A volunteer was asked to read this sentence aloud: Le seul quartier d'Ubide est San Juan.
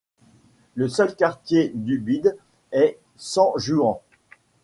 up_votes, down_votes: 2, 0